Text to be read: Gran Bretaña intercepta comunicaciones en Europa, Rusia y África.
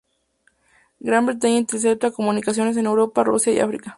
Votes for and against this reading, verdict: 2, 0, accepted